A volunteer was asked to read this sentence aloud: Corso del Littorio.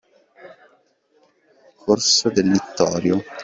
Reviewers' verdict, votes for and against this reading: accepted, 2, 0